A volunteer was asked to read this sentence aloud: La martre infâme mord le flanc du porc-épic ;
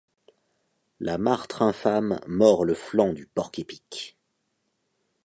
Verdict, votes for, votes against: accepted, 2, 0